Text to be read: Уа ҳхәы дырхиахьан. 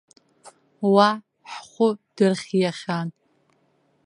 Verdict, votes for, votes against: rejected, 0, 2